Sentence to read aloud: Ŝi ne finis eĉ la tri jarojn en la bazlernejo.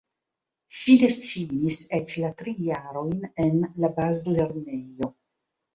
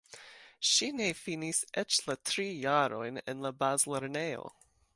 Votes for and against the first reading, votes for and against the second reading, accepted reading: 1, 2, 2, 0, second